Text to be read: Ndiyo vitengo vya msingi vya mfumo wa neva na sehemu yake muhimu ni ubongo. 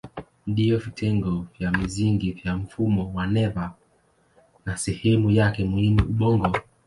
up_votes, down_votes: 8, 2